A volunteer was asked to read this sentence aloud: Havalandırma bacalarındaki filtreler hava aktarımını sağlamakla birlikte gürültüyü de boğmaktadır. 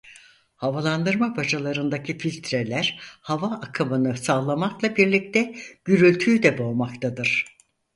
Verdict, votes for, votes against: accepted, 4, 2